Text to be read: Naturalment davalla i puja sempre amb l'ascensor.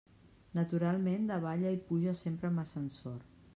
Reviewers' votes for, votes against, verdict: 1, 2, rejected